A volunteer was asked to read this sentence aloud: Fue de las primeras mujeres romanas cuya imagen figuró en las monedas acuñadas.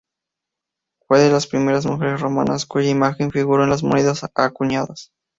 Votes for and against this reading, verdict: 2, 0, accepted